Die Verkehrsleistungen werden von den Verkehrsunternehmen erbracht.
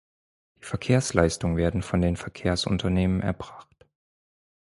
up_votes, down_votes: 2, 4